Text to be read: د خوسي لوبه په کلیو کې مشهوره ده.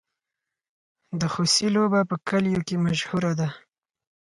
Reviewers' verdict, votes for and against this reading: accepted, 4, 0